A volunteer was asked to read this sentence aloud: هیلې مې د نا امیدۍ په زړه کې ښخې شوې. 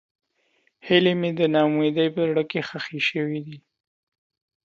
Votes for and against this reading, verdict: 2, 0, accepted